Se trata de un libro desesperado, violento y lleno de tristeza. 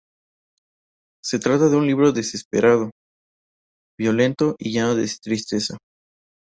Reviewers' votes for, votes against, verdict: 0, 2, rejected